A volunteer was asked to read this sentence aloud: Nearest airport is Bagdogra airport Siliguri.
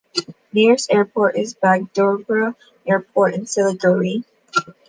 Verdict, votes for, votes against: rejected, 1, 2